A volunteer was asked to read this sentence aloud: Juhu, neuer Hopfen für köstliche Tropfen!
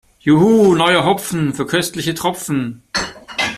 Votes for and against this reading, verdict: 2, 0, accepted